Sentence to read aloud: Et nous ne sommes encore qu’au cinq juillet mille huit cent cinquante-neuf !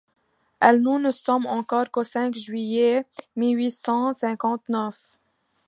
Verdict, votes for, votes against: rejected, 1, 2